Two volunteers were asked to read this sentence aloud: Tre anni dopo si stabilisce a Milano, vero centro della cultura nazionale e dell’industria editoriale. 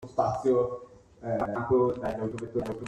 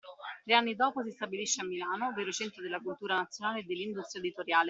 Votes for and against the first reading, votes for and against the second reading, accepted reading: 0, 2, 2, 0, second